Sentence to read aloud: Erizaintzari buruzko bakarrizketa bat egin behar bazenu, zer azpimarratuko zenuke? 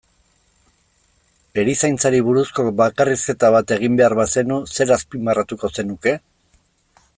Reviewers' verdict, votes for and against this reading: accepted, 2, 0